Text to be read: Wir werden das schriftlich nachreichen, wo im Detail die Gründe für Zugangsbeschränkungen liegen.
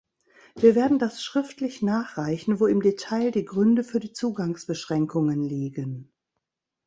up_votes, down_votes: 1, 2